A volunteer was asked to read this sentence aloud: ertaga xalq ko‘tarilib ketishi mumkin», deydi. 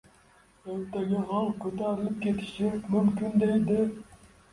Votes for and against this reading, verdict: 0, 2, rejected